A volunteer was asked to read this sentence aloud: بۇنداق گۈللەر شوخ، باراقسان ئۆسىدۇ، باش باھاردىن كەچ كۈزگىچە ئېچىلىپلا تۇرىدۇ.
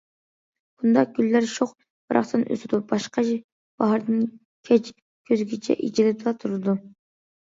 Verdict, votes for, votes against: rejected, 0, 2